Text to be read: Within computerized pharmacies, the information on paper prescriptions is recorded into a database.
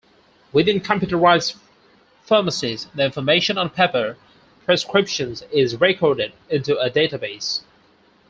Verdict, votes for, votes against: rejected, 2, 4